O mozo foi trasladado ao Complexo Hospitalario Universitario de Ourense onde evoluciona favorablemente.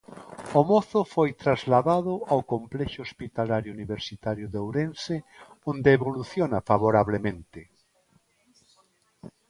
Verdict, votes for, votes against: accepted, 2, 0